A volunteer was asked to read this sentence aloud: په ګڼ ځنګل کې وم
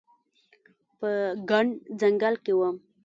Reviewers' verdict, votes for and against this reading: accepted, 2, 0